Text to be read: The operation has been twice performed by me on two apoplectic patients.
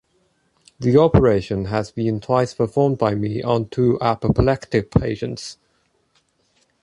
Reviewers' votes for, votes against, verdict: 3, 0, accepted